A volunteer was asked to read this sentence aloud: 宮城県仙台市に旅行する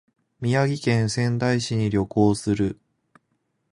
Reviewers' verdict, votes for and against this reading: accepted, 2, 0